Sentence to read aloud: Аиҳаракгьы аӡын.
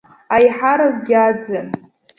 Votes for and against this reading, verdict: 2, 0, accepted